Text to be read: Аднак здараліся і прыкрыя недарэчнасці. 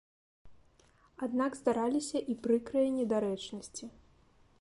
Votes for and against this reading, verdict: 2, 0, accepted